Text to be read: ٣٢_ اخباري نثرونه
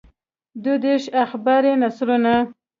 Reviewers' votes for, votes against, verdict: 0, 2, rejected